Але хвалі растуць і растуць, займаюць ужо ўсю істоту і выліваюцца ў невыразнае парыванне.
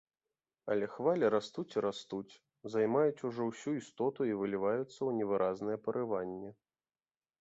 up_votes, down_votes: 2, 0